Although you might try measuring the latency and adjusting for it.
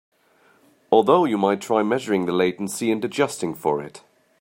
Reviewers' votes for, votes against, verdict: 2, 0, accepted